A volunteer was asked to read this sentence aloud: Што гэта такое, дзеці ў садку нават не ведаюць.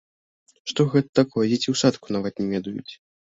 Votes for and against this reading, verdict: 0, 2, rejected